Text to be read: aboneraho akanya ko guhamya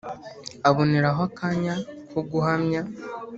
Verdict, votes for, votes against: accepted, 2, 0